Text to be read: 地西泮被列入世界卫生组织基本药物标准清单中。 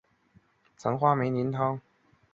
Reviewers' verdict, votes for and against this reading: rejected, 1, 2